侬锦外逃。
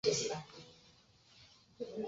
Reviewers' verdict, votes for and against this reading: rejected, 1, 5